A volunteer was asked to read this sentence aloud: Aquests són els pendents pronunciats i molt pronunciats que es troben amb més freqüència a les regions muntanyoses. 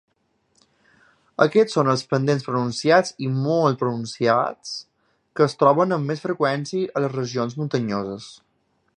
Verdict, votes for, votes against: accepted, 3, 0